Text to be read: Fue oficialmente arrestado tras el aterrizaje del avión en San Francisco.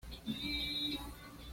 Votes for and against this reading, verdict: 1, 2, rejected